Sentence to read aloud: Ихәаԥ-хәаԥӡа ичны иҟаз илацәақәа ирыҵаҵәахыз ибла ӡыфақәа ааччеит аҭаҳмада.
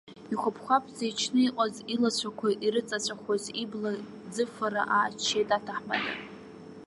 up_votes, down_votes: 0, 2